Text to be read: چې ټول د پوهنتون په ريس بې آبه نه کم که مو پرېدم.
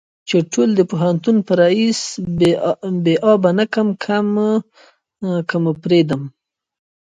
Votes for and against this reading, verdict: 2, 0, accepted